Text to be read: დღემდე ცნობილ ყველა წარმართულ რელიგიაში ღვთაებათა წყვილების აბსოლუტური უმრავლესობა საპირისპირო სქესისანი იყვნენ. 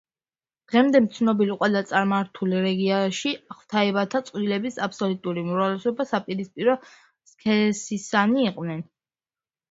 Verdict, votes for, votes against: rejected, 1, 2